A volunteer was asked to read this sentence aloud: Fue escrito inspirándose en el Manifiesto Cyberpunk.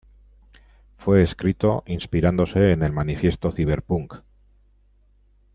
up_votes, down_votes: 1, 2